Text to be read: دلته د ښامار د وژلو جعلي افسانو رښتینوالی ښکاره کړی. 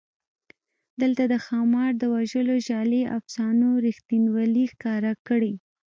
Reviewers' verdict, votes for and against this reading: accepted, 2, 1